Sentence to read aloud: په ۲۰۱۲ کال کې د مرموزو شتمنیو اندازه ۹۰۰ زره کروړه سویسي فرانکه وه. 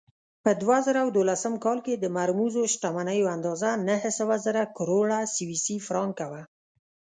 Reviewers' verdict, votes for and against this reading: rejected, 0, 2